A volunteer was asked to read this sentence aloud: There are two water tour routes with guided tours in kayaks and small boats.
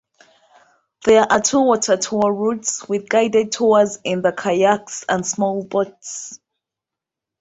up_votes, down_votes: 2, 1